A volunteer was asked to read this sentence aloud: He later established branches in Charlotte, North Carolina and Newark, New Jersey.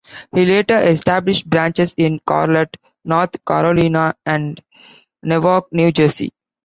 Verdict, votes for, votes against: rejected, 0, 2